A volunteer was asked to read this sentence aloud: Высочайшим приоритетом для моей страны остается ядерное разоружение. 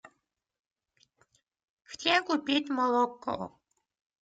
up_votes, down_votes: 0, 2